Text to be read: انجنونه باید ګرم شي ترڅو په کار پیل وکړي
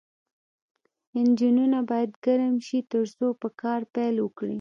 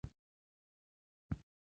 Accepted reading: second